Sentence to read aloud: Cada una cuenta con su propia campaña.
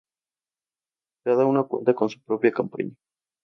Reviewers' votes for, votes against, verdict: 0, 2, rejected